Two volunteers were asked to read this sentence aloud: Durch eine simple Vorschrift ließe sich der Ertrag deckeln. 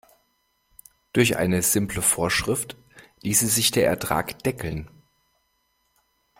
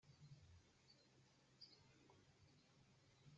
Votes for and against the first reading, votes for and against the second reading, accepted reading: 2, 0, 0, 2, first